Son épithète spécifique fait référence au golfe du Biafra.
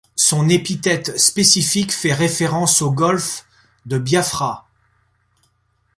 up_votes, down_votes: 0, 2